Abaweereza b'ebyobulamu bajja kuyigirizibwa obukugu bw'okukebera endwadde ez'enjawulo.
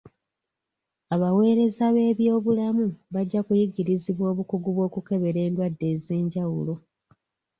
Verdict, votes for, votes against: accepted, 2, 0